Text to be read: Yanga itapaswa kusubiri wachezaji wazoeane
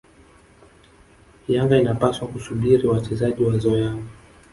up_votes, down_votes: 1, 2